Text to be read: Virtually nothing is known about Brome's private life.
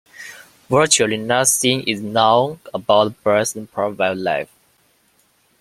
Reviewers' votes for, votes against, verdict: 0, 2, rejected